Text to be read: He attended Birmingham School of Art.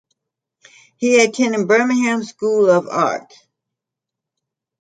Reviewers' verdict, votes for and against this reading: accepted, 2, 0